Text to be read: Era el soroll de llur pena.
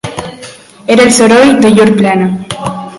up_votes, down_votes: 0, 2